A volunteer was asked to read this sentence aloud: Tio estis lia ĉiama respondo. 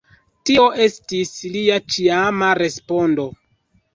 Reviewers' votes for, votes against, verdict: 2, 1, accepted